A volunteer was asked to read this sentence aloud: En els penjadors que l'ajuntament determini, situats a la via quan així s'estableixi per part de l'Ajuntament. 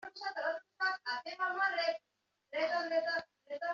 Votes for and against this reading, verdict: 0, 2, rejected